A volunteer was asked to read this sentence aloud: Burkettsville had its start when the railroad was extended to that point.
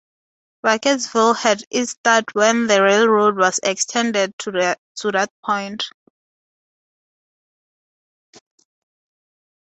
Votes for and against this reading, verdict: 2, 2, rejected